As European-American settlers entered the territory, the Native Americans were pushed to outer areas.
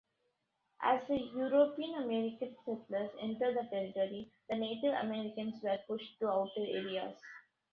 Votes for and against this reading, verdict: 1, 2, rejected